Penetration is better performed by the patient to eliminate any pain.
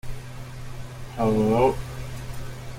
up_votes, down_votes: 0, 2